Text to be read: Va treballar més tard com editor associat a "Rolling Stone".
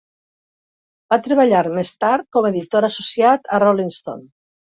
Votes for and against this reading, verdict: 2, 1, accepted